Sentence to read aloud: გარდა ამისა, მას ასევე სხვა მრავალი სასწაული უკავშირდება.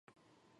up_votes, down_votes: 1, 2